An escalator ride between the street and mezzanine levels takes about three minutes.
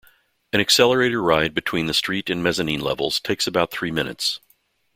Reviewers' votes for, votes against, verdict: 0, 2, rejected